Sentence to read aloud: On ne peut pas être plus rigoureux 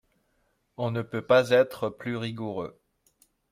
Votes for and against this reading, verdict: 2, 0, accepted